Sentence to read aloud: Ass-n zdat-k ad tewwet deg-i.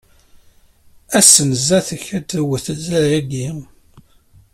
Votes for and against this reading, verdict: 0, 2, rejected